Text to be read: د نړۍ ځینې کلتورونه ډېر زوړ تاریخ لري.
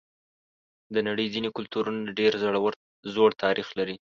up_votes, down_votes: 1, 2